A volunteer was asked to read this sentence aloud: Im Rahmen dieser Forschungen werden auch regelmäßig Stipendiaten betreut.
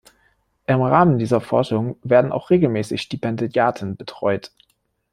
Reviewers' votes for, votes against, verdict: 0, 2, rejected